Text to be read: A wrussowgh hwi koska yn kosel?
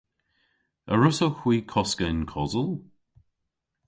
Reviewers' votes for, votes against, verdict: 2, 0, accepted